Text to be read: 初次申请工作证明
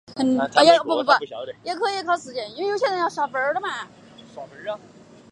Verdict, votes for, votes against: rejected, 1, 3